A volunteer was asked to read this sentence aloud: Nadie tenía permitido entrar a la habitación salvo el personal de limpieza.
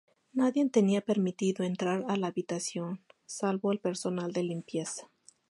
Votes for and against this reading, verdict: 2, 0, accepted